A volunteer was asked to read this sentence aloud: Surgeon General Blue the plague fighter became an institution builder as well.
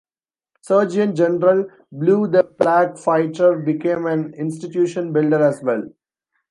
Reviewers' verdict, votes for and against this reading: rejected, 1, 2